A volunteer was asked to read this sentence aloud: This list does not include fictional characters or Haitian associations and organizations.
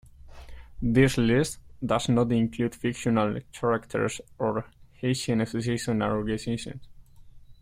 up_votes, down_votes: 2, 0